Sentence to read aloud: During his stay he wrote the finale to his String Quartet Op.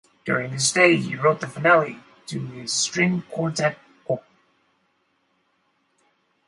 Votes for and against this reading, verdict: 0, 4, rejected